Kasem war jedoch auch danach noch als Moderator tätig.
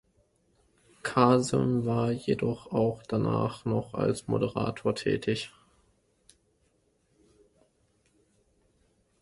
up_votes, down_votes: 2, 0